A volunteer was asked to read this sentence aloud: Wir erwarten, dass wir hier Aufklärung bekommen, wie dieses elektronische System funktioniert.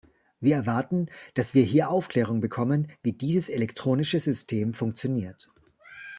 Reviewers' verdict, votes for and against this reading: accepted, 2, 0